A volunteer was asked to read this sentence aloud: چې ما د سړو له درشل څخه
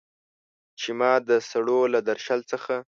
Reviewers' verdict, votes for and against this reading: accepted, 2, 1